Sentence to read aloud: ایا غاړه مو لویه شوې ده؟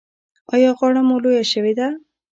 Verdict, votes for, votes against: rejected, 1, 2